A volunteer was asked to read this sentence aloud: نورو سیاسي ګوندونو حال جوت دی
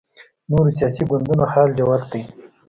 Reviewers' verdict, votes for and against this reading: accepted, 2, 0